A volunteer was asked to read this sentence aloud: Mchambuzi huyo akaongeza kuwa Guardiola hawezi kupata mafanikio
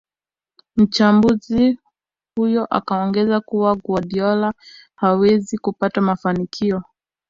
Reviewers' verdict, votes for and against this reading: rejected, 1, 2